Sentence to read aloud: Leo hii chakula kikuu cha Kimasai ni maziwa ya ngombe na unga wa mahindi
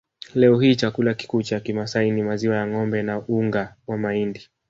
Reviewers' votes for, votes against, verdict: 1, 2, rejected